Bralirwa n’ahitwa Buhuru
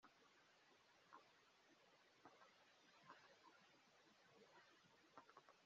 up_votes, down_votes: 1, 2